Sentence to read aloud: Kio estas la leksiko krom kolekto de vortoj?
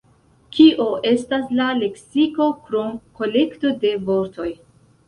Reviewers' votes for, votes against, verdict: 0, 2, rejected